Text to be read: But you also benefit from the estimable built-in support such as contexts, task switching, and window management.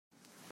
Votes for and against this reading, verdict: 0, 2, rejected